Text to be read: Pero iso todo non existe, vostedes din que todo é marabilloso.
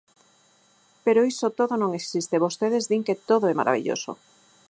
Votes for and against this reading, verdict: 4, 0, accepted